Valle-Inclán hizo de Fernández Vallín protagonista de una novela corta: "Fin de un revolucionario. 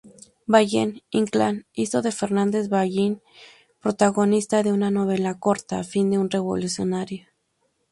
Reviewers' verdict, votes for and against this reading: rejected, 0, 2